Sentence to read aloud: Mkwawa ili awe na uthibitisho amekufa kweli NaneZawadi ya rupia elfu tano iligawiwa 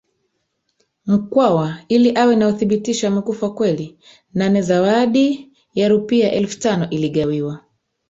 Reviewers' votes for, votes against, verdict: 1, 2, rejected